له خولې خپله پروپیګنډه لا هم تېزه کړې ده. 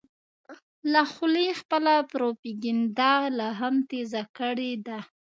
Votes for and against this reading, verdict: 2, 0, accepted